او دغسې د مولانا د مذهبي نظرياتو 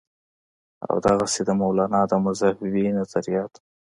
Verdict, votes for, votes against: accepted, 2, 0